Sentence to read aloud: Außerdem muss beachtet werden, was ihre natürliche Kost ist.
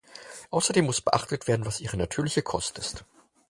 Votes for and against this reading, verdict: 4, 0, accepted